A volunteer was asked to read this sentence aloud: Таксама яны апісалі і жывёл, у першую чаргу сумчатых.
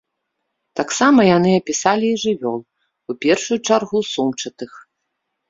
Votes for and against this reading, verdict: 3, 0, accepted